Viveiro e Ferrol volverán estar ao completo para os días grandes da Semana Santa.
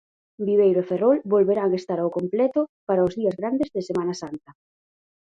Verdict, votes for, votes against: rejected, 0, 4